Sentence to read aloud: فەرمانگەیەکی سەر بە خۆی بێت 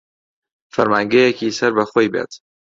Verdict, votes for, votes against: accepted, 2, 0